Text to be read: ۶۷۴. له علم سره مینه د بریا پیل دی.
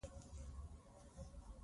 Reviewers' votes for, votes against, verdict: 0, 2, rejected